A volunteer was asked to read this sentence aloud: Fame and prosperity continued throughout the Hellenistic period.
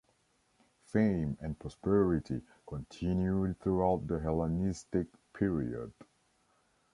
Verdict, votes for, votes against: accepted, 2, 0